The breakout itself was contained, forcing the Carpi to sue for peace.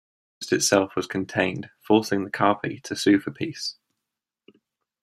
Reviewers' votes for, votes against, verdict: 1, 2, rejected